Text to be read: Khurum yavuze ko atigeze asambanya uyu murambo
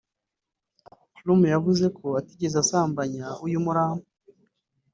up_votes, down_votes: 1, 2